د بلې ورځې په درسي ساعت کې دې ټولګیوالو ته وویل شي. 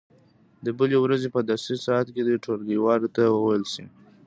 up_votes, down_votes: 2, 0